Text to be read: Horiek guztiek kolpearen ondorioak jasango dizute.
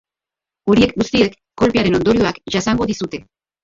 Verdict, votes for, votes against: rejected, 0, 4